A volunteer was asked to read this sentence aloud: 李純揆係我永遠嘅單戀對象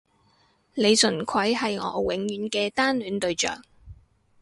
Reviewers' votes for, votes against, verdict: 6, 0, accepted